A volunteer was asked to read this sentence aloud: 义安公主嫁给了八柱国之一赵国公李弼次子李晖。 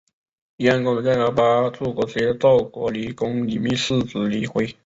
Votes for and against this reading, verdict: 1, 4, rejected